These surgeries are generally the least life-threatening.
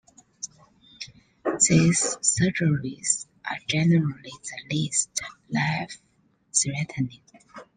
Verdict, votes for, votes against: rejected, 1, 2